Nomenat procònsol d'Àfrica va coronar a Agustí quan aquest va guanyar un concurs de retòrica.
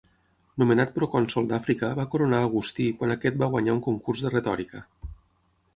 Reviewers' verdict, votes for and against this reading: accepted, 9, 0